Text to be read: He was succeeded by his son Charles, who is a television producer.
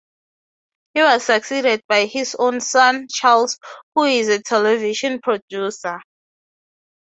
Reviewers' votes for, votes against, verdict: 6, 0, accepted